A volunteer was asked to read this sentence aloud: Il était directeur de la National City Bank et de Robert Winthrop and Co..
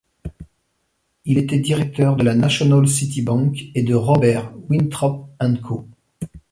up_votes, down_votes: 2, 0